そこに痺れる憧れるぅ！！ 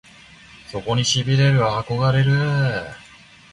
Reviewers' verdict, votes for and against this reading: accepted, 2, 0